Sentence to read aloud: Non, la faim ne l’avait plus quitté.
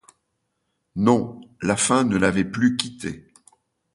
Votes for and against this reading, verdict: 2, 0, accepted